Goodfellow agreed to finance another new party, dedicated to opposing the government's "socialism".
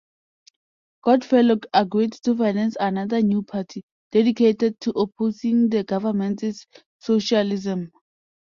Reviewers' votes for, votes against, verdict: 2, 0, accepted